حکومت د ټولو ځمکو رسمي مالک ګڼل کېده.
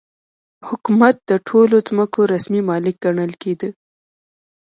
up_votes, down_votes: 0, 2